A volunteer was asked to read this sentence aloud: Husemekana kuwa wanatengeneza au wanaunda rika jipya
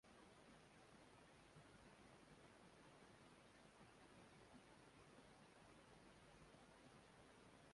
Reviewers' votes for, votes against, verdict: 1, 2, rejected